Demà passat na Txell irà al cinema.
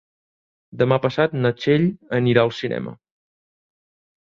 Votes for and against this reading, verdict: 1, 2, rejected